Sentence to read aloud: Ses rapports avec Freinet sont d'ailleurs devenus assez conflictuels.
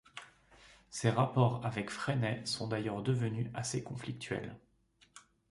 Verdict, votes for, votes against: accepted, 2, 0